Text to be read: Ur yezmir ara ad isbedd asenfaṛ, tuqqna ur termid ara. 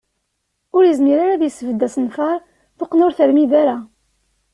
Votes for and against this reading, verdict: 2, 0, accepted